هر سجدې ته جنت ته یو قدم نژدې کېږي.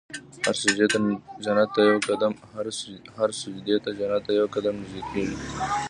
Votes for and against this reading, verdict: 0, 2, rejected